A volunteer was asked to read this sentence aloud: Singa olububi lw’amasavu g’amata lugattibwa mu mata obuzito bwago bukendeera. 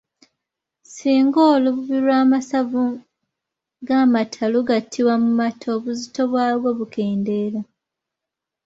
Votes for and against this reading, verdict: 2, 0, accepted